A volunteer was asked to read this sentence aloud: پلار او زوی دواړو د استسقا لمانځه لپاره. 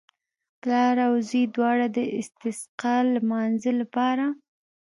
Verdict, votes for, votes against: accepted, 3, 0